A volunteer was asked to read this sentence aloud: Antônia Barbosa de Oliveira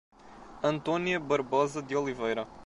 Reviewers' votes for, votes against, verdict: 2, 0, accepted